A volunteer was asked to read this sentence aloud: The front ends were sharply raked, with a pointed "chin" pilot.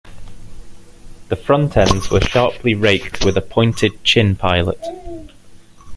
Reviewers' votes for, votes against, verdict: 2, 0, accepted